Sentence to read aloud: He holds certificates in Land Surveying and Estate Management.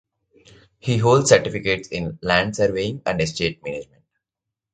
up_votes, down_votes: 1, 2